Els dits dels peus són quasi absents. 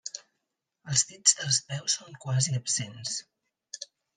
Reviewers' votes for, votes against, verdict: 1, 2, rejected